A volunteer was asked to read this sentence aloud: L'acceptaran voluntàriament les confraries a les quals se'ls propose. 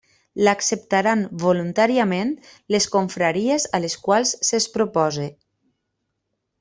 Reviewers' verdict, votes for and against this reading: accepted, 3, 0